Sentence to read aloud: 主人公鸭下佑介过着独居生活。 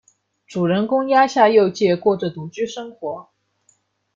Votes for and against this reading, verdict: 1, 2, rejected